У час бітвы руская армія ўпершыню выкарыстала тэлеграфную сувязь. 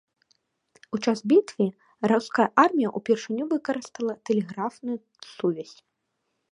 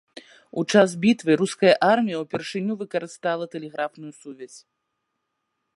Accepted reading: first